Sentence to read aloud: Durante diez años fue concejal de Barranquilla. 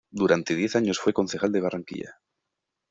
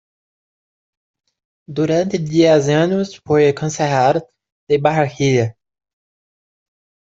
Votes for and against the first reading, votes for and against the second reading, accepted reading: 2, 0, 0, 2, first